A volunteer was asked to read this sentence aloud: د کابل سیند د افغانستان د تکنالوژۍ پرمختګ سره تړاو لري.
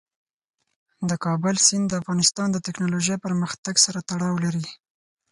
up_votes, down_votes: 4, 0